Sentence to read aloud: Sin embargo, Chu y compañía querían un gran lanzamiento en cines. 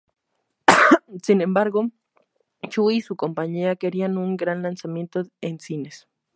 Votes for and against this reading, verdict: 0, 2, rejected